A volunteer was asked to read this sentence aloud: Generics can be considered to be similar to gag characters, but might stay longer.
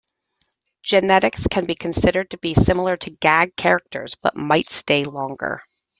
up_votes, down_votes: 2, 1